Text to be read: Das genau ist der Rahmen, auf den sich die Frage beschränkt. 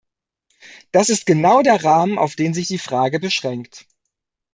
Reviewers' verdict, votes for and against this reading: rejected, 0, 2